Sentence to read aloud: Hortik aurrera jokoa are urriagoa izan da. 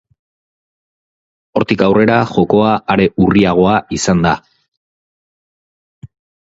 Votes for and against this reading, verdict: 4, 0, accepted